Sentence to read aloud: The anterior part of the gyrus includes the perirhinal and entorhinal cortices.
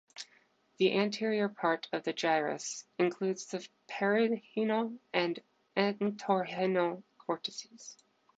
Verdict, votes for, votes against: rejected, 0, 2